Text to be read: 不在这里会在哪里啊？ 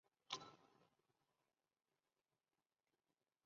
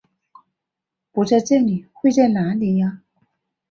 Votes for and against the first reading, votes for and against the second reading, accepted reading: 0, 3, 2, 0, second